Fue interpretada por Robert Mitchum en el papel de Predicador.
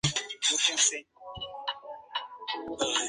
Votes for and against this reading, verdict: 2, 0, accepted